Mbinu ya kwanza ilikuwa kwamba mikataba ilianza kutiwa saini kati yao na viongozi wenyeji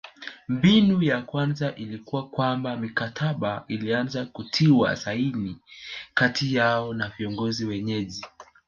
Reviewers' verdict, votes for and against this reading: accepted, 2, 0